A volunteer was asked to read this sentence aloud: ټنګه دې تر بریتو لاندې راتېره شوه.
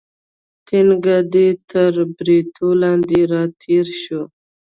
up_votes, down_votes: 1, 2